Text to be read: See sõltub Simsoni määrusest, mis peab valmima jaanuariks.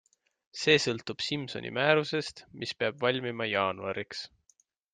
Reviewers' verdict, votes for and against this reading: accepted, 3, 0